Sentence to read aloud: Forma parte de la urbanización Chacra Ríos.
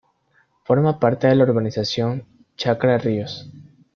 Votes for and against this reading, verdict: 2, 0, accepted